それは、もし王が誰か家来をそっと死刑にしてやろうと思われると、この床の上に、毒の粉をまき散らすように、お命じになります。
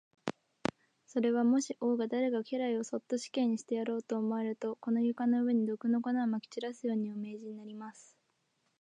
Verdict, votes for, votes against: accepted, 4, 2